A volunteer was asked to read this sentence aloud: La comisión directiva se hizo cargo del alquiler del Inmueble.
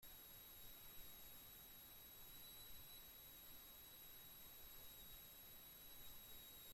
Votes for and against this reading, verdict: 0, 2, rejected